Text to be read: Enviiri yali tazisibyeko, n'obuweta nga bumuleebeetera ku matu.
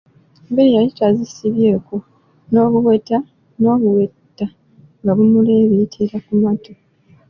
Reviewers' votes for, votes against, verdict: 2, 1, accepted